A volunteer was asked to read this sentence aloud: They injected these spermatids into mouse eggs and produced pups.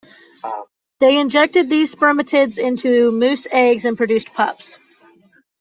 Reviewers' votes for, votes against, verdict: 1, 2, rejected